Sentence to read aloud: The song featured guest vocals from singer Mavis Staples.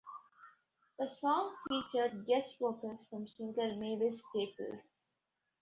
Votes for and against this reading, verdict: 2, 0, accepted